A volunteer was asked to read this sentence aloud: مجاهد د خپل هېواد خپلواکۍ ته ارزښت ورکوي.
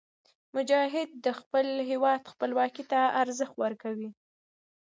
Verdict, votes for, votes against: rejected, 1, 2